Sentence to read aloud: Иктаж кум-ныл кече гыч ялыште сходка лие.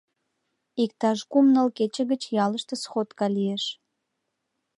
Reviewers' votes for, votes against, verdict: 0, 2, rejected